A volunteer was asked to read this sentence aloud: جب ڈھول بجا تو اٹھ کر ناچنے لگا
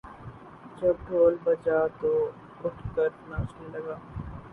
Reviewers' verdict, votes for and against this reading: rejected, 0, 2